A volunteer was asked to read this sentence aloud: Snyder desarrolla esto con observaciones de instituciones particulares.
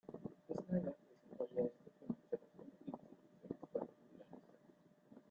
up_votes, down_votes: 0, 2